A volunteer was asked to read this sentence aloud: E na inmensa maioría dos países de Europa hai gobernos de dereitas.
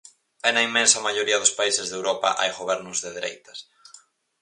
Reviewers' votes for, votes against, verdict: 4, 0, accepted